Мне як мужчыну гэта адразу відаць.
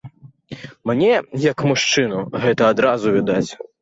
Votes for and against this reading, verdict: 2, 0, accepted